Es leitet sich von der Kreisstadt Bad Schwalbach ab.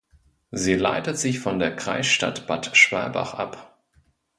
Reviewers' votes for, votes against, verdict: 0, 2, rejected